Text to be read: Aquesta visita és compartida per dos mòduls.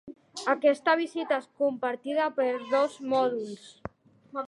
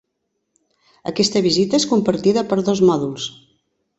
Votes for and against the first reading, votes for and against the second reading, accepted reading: 1, 2, 3, 0, second